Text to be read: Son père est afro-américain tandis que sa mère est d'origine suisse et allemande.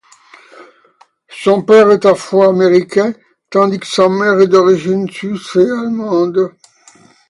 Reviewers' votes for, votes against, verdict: 2, 0, accepted